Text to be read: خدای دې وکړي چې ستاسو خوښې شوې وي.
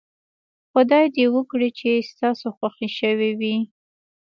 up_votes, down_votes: 1, 2